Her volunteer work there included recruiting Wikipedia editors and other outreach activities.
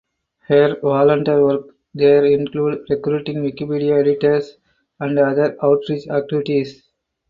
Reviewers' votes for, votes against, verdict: 2, 4, rejected